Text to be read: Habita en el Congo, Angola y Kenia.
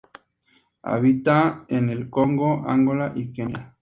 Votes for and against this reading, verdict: 2, 0, accepted